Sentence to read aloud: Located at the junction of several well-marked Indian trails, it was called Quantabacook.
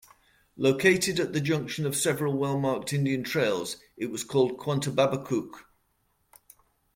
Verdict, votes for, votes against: rejected, 0, 2